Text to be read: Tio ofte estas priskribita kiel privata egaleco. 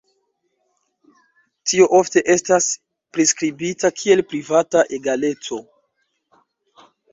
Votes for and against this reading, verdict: 2, 0, accepted